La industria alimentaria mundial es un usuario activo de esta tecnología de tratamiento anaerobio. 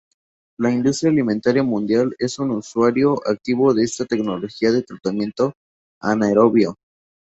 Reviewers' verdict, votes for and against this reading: rejected, 2, 2